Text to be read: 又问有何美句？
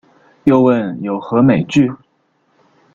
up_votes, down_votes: 2, 0